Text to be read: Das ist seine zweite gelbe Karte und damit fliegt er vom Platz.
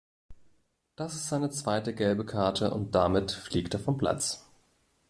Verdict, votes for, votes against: accepted, 2, 0